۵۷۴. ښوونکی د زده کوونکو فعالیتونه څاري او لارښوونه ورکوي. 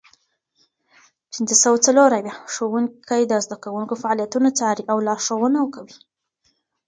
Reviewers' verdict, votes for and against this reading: rejected, 0, 2